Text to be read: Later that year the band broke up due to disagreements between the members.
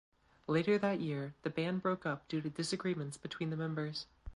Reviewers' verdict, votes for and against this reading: rejected, 1, 2